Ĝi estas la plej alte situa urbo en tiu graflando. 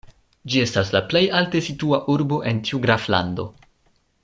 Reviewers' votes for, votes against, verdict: 2, 0, accepted